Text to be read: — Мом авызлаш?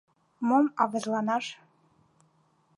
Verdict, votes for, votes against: rejected, 0, 2